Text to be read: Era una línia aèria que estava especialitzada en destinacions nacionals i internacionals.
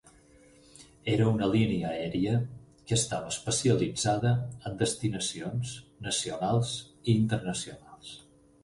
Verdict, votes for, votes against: accepted, 6, 0